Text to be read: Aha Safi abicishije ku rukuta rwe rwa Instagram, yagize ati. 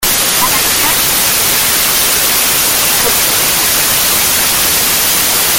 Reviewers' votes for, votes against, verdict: 0, 2, rejected